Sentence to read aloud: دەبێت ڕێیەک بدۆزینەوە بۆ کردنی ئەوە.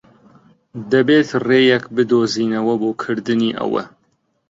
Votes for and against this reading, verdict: 2, 0, accepted